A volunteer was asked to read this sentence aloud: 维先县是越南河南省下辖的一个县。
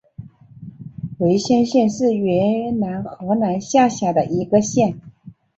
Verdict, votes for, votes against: accepted, 3, 1